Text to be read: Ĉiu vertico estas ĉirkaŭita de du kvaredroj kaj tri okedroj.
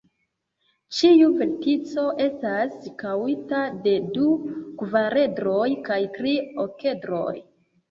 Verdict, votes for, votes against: rejected, 0, 2